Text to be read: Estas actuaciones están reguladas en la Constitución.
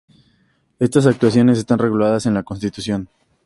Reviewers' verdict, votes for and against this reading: accepted, 6, 0